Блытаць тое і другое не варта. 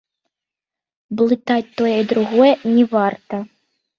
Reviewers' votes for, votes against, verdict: 0, 2, rejected